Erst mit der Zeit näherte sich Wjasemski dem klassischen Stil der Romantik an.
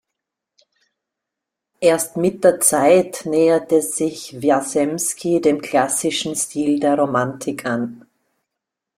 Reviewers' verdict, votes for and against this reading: accepted, 2, 0